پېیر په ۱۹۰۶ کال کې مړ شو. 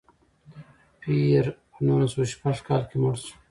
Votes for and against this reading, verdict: 0, 2, rejected